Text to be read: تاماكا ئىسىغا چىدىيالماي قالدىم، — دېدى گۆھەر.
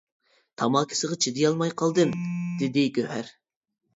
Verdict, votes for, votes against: accepted, 2, 0